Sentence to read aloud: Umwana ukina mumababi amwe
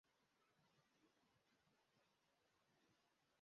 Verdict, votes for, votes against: rejected, 0, 2